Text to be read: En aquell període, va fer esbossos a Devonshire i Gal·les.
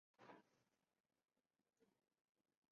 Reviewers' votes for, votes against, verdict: 0, 2, rejected